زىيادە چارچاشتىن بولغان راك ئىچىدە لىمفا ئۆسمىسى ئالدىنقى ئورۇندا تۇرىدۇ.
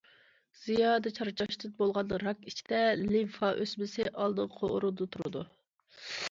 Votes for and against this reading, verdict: 2, 0, accepted